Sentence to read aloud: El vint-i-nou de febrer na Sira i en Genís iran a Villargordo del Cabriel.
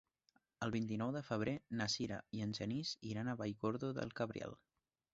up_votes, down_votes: 1, 2